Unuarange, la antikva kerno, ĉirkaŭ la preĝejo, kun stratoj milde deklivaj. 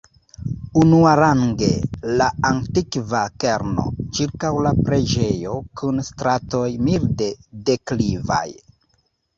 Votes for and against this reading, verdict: 2, 1, accepted